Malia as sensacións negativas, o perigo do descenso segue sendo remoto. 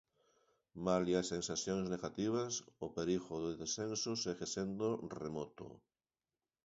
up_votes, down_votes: 2, 1